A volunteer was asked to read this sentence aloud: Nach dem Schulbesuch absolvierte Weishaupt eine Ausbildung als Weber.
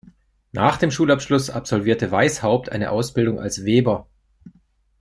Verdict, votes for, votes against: rejected, 0, 2